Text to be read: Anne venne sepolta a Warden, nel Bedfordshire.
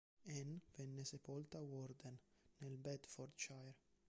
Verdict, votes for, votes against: accepted, 2, 1